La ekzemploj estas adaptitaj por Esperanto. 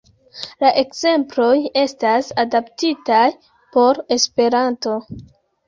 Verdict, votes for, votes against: accepted, 3, 0